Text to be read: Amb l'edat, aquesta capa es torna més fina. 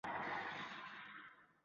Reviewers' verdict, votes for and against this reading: rejected, 0, 3